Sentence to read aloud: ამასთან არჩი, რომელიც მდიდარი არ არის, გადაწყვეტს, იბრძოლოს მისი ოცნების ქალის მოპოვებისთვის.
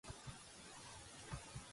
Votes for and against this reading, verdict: 1, 2, rejected